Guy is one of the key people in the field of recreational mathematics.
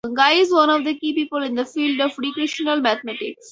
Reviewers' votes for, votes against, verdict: 4, 0, accepted